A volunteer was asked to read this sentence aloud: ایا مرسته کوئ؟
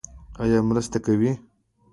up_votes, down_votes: 2, 0